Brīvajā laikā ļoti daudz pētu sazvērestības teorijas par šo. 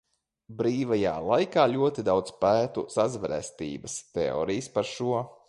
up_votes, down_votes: 2, 0